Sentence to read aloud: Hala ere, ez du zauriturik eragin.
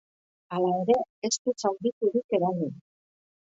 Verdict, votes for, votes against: rejected, 1, 2